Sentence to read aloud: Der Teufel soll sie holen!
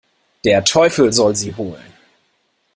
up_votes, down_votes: 2, 0